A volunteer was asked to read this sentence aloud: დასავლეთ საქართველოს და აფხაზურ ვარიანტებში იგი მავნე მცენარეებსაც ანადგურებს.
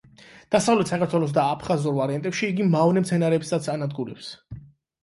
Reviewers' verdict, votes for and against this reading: accepted, 8, 0